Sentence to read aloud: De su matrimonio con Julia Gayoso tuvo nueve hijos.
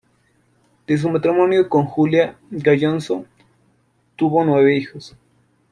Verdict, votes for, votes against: rejected, 0, 2